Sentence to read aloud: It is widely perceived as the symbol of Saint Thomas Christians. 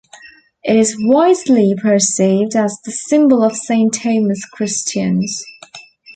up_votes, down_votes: 1, 2